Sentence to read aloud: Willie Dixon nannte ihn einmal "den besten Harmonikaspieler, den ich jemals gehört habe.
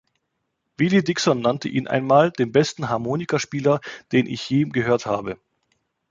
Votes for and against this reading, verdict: 0, 2, rejected